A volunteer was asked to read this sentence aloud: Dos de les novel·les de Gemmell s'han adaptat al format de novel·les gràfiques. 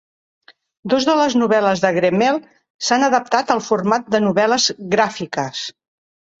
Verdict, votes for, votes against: rejected, 1, 2